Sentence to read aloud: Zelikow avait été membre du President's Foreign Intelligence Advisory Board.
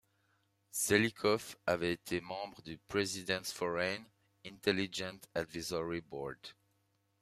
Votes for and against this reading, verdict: 1, 2, rejected